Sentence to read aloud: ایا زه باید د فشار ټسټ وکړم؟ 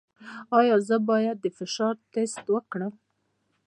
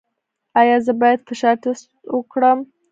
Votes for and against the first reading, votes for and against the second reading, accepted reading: 2, 0, 1, 2, first